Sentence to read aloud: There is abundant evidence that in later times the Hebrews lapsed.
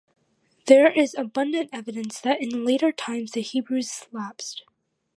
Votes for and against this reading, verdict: 2, 0, accepted